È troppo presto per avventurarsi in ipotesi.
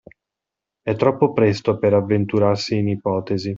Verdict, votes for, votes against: accepted, 2, 0